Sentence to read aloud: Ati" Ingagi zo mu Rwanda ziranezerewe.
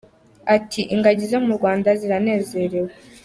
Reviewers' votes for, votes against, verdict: 2, 0, accepted